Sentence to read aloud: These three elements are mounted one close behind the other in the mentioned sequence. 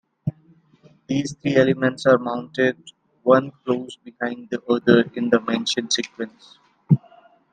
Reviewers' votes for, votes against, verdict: 2, 1, accepted